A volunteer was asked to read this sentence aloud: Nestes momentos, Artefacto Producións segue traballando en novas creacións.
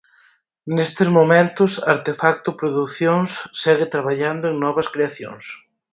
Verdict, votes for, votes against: accepted, 4, 0